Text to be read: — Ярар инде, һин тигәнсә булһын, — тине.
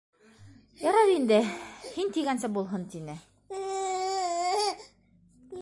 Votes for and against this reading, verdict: 0, 2, rejected